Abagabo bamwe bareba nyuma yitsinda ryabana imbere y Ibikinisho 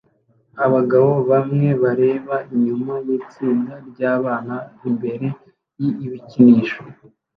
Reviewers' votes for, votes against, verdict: 2, 0, accepted